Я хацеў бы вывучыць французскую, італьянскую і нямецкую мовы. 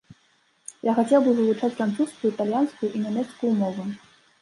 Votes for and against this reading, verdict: 1, 2, rejected